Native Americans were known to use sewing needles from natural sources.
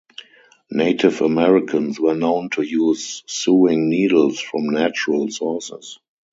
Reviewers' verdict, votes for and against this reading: rejected, 2, 2